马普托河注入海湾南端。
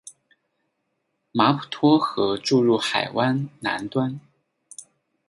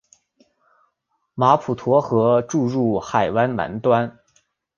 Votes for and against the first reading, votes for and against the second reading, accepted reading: 2, 2, 2, 0, second